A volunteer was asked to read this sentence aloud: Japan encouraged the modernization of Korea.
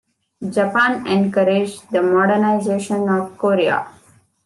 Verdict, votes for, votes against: accepted, 2, 0